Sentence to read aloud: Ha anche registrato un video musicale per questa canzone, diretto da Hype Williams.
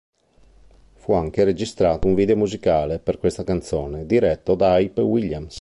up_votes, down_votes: 1, 4